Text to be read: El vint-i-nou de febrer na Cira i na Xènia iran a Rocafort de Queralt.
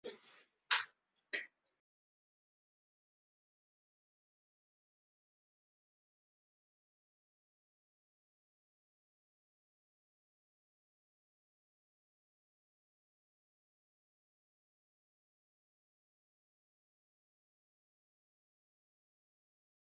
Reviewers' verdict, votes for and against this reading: rejected, 0, 2